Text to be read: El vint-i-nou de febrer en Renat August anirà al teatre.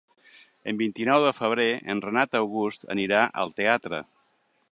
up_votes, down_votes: 0, 2